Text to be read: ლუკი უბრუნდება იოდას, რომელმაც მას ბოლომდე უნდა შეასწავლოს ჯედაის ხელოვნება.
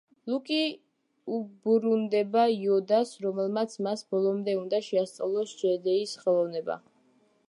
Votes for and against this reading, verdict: 0, 2, rejected